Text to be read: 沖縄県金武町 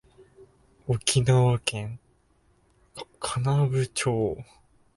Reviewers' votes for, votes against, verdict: 0, 2, rejected